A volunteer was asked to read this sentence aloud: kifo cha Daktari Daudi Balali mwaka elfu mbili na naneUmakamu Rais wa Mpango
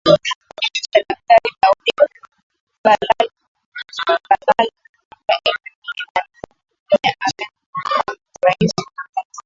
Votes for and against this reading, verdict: 0, 2, rejected